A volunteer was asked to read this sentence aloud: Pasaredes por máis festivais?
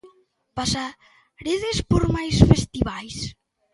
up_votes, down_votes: 1, 2